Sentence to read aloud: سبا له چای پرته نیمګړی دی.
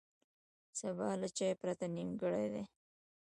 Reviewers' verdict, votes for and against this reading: accepted, 2, 0